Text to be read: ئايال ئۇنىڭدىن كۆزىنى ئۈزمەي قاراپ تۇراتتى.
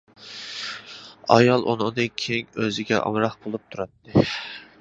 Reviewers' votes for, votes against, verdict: 0, 2, rejected